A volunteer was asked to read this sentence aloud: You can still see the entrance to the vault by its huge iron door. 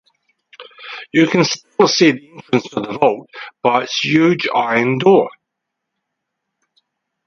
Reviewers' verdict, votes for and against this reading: rejected, 2, 6